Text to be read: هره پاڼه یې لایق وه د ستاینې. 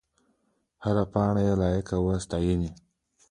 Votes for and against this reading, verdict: 4, 0, accepted